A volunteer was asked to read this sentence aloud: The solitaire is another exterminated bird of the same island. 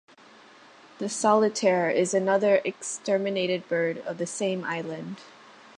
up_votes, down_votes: 2, 0